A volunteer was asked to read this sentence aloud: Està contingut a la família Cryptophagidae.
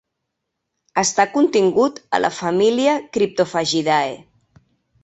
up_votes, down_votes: 2, 0